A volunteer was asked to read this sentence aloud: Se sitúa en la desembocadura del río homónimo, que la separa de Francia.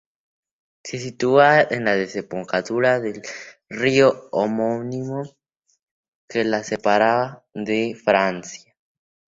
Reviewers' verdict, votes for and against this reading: accepted, 2, 0